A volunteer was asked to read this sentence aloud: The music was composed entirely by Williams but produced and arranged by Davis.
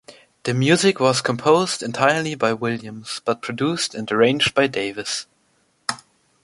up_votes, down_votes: 2, 0